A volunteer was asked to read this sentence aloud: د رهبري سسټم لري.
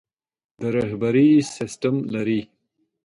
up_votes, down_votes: 2, 0